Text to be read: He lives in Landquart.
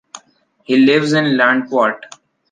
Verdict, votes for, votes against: accepted, 2, 0